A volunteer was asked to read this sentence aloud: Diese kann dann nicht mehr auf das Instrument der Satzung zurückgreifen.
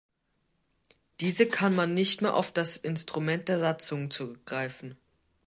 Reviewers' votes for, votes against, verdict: 1, 2, rejected